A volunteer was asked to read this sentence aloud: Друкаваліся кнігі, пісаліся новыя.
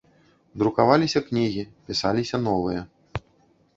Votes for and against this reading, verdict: 2, 0, accepted